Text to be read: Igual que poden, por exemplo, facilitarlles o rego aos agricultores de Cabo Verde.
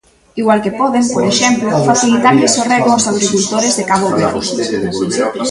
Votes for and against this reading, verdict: 0, 2, rejected